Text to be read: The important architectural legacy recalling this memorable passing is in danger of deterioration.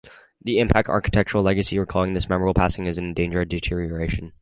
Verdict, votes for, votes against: rejected, 2, 2